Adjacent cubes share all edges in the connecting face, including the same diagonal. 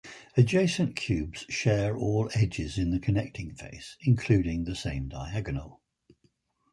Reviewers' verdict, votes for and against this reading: accepted, 4, 0